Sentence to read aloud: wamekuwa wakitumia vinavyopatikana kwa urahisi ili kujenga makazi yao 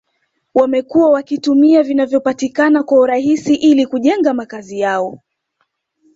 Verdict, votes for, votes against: accepted, 2, 0